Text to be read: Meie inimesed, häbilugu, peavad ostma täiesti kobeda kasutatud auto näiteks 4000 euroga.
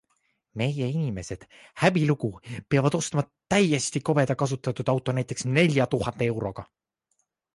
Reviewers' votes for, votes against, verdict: 0, 2, rejected